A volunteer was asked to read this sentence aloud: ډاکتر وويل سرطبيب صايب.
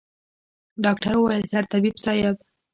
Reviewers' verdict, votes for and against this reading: accepted, 2, 0